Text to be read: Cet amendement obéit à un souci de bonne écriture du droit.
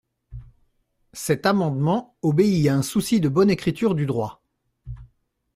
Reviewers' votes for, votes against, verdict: 2, 0, accepted